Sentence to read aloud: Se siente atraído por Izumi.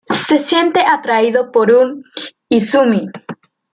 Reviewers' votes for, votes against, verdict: 1, 2, rejected